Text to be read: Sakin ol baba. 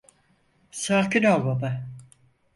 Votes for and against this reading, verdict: 4, 0, accepted